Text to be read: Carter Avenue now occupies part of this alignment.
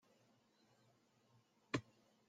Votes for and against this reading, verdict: 0, 2, rejected